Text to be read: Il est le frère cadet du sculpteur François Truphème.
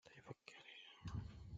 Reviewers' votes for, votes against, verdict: 0, 2, rejected